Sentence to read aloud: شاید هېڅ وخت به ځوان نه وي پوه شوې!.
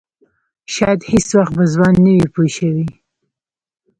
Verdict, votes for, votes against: accepted, 2, 0